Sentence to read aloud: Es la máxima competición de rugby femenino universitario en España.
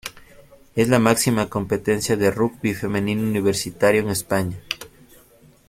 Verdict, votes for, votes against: rejected, 0, 2